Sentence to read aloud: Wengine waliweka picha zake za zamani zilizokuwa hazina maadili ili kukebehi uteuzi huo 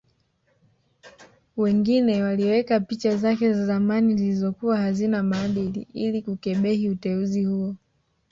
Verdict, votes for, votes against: rejected, 0, 2